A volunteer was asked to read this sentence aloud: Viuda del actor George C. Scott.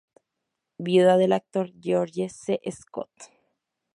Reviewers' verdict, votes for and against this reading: rejected, 0, 2